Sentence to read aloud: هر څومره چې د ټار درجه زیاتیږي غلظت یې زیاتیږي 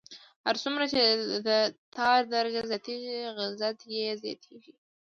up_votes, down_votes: 0, 2